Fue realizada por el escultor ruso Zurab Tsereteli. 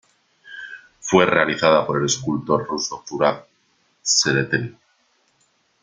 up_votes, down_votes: 0, 2